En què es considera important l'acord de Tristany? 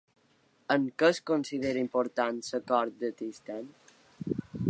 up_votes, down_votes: 1, 2